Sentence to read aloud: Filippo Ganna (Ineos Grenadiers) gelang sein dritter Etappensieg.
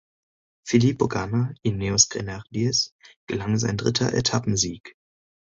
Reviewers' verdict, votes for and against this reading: accepted, 2, 0